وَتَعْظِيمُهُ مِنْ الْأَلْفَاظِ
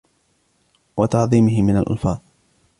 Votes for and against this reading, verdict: 1, 2, rejected